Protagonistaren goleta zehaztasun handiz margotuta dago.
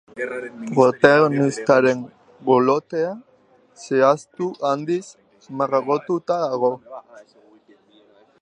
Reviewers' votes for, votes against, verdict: 0, 2, rejected